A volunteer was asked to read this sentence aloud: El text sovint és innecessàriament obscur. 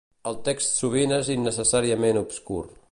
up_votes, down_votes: 3, 0